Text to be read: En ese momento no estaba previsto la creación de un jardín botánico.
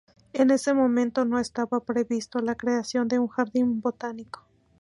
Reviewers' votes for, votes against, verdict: 8, 0, accepted